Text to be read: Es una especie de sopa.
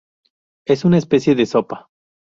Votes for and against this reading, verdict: 2, 0, accepted